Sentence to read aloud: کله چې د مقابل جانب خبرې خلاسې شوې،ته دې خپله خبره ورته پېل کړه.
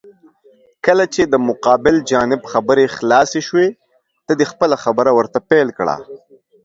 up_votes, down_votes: 2, 0